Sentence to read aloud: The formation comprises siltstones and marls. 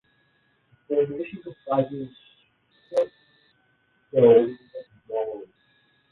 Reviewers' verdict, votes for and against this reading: rejected, 0, 2